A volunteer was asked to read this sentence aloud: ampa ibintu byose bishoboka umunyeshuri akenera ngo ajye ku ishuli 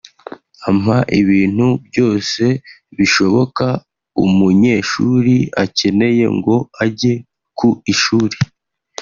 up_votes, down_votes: 1, 2